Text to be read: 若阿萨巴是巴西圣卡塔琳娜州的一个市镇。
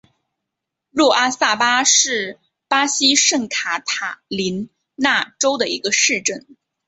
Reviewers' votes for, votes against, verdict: 3, 0, accepted